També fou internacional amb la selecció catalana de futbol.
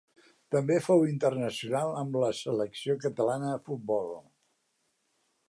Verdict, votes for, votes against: accepted, 3, 0